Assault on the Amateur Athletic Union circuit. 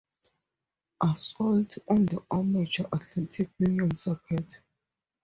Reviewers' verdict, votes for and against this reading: accepted, 4, 0